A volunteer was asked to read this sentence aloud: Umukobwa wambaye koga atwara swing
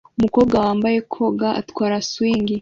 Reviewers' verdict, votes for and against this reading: accepted, 2, 0